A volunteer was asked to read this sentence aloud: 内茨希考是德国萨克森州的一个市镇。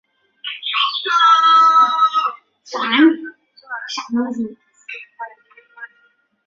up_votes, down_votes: 0, 7